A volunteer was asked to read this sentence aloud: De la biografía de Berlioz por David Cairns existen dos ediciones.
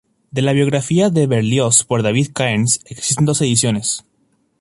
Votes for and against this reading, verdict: 2, 0, accepted